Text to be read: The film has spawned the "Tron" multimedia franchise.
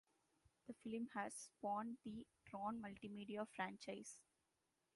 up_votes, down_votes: 1, 2